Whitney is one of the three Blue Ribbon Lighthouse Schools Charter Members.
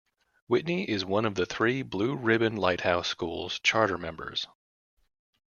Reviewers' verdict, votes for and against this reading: accepted, 2, 0